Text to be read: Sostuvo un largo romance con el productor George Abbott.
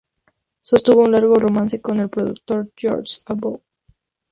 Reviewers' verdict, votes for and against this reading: accepted, 2, 0